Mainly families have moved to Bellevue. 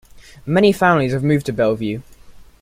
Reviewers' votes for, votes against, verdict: 2, 0, accepted